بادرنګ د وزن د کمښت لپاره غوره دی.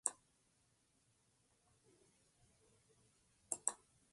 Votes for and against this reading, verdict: 0, 2, rejected